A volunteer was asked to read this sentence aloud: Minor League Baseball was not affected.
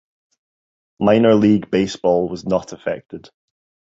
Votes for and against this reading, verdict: 2, 0, accepted